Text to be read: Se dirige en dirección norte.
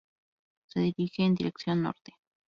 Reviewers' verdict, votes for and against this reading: rejected, 0, 2